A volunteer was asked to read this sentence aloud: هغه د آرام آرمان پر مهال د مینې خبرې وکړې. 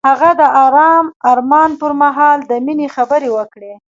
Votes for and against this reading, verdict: 2, 0, accepted